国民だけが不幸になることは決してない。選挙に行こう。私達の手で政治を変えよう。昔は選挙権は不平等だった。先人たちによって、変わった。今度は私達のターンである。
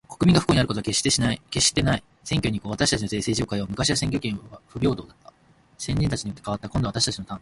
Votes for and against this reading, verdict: 1, 2, rejected